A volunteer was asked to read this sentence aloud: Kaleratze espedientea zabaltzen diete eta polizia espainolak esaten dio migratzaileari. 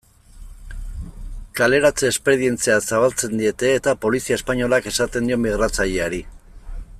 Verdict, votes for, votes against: rejected, 0, 2